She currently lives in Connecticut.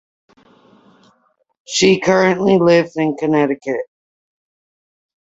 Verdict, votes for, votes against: accepted, 2, 0